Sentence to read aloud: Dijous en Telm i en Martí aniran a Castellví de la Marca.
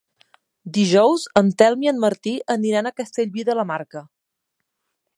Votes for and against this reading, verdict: 3, 0, accepted